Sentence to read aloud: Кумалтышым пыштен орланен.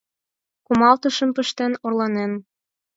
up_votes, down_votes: 4, 0